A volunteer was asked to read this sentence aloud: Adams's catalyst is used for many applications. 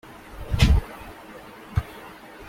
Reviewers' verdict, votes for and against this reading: rejected, 0, 2